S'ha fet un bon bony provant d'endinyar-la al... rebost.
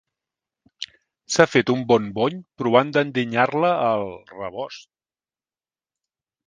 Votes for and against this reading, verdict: 3, 0, accepted